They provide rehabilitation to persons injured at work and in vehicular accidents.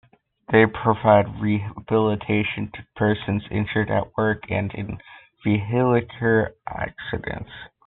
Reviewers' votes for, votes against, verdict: 0, 2, rejected